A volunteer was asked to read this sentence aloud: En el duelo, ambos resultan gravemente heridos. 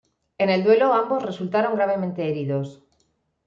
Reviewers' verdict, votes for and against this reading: rejected, 1, 2